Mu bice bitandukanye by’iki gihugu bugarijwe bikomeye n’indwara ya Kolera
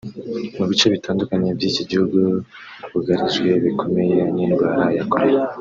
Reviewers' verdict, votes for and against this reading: accepted, 3, 0